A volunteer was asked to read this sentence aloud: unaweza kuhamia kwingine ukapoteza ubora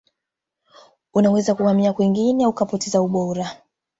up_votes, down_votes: 2, 0